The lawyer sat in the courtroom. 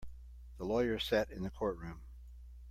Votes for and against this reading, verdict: 2, 0, accepted